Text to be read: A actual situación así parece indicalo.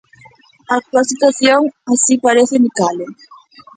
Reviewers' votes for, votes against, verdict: 0, 2, rejected